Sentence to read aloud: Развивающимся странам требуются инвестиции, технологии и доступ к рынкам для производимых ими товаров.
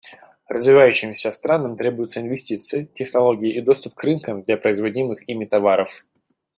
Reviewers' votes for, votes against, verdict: 2, 0, accepted